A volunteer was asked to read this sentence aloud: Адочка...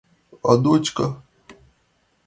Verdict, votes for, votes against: accepted, 2, 0